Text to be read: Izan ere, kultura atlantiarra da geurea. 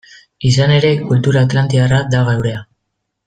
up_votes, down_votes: 2, 1